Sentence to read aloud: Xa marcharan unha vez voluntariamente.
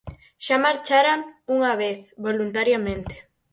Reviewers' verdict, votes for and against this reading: accepted, 4, 0